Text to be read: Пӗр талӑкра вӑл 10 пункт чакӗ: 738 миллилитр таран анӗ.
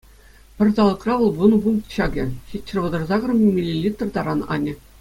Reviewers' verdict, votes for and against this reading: rejected, 0, 2